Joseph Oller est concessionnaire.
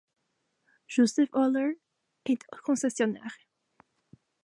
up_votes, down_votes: 1, 2